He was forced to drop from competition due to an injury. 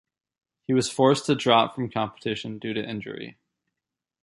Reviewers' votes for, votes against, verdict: 0, 2, rejected